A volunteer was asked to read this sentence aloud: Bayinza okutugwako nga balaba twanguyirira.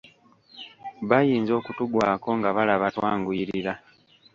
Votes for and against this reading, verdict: 2, 0, accepted